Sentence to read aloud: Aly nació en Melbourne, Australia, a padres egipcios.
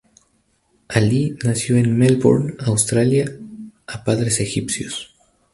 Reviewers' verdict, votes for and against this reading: rejected, 0, 2